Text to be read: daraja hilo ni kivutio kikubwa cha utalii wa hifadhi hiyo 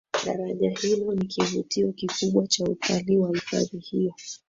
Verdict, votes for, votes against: rejected, 2, 3